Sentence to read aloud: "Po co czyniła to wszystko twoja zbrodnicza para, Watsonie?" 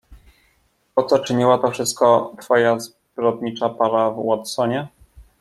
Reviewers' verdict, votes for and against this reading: rejected, 1, 2